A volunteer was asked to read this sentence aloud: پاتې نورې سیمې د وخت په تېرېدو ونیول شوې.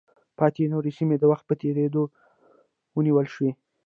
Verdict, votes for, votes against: rejected, 1, 2